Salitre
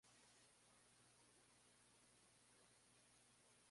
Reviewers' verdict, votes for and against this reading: rejected, 0, 2